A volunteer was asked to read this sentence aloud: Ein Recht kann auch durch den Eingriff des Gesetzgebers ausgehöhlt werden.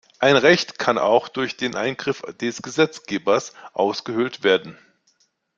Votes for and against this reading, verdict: 2, 0, accepted